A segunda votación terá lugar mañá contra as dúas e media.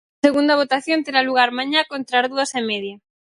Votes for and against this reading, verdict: 0, 4, rejected